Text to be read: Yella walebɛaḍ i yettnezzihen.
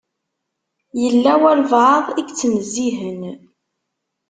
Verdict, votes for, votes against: accepted, 2, 0